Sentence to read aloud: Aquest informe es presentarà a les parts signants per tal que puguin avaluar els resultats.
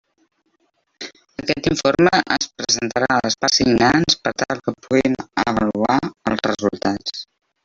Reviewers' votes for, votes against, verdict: 0, 2, rejected